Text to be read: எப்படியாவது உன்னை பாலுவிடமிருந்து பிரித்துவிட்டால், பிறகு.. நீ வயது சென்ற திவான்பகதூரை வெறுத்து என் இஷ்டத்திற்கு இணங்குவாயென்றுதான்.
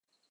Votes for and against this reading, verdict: 0, 2, rejected